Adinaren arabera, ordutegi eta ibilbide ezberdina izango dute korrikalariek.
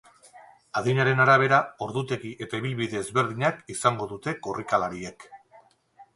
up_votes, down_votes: 4, 2